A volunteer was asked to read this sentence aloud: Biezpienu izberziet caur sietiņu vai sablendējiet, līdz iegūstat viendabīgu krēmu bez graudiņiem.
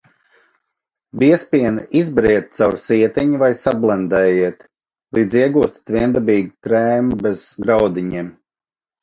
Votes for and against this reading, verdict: 0, 2, rejected